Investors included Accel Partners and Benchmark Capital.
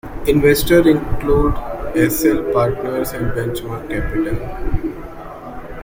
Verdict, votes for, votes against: rejected, 1, 2